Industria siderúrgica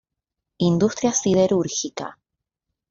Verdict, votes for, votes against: accepted, 2, 0